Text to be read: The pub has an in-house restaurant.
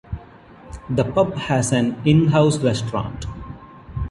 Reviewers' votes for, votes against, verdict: 2, 0, accepted